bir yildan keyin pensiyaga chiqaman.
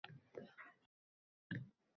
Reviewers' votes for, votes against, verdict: 0, 2, rejected